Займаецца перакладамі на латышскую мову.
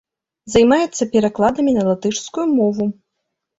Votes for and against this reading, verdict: 2, 0, accepted